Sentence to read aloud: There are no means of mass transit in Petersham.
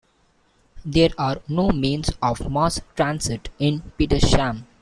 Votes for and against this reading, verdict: 2, 0, accepted